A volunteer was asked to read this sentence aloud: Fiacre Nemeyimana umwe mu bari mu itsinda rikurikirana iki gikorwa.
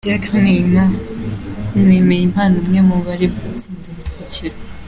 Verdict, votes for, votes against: rejected, 0, 3